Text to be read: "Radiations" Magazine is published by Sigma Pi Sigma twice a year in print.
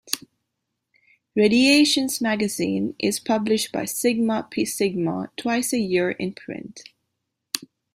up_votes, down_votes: 1, 2